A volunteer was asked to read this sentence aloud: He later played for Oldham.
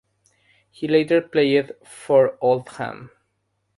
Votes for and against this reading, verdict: 6, 0, accepted